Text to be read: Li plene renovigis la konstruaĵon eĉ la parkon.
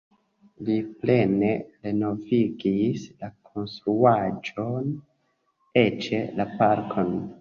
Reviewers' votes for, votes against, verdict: 2, 1, accepted